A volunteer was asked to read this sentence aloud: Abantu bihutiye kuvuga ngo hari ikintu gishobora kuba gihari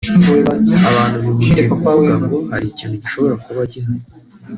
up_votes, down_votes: 3, 2